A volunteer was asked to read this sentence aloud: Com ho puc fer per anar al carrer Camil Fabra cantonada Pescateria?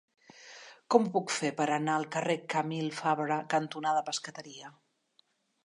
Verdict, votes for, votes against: accepted, 3, 0